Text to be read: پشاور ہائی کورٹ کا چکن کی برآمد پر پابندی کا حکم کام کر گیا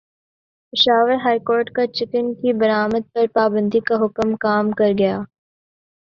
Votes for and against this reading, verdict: 2, 0, accepted